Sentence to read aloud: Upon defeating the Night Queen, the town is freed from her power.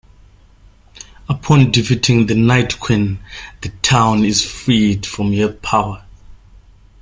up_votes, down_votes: 0, 2